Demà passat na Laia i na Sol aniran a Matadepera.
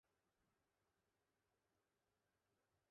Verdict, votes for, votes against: rejected, 0, 2